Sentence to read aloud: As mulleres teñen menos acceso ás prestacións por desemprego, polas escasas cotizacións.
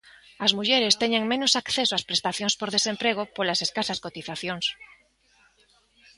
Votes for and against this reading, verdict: 2, 1, accepted